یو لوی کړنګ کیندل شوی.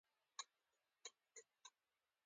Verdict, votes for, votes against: accepted, 2, 1